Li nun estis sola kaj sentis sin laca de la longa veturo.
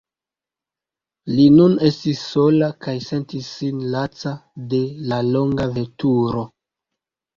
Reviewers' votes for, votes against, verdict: 0, 2, rejected